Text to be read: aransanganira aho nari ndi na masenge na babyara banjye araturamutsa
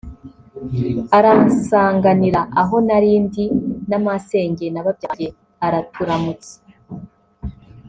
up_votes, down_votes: 2, 0